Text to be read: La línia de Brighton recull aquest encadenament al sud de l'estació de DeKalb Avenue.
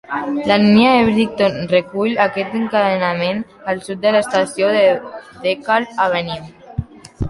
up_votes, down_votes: 1, 2